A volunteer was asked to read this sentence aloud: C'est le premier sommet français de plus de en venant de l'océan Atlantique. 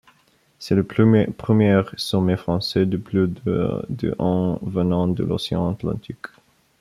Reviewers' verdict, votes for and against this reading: rejected, 0, 2